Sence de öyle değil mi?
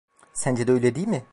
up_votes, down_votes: 2, 0